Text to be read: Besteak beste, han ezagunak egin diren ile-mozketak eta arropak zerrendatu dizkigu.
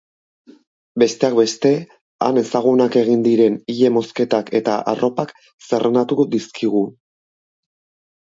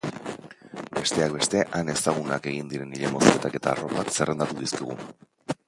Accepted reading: first